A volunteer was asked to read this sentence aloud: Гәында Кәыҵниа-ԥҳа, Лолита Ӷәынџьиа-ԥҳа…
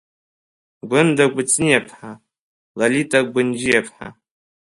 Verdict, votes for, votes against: rejected, 0, 2